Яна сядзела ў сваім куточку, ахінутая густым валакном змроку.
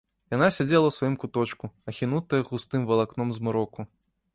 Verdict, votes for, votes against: rejected, 1, 2